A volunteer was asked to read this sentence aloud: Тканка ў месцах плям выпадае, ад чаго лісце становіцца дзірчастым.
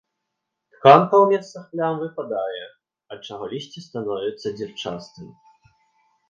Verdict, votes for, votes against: rejected, 0, 2